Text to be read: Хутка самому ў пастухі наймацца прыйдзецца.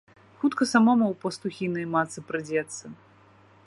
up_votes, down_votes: 1, 2